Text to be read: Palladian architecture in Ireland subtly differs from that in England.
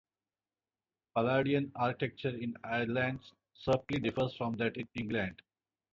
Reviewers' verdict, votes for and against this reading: accepted, 2, 0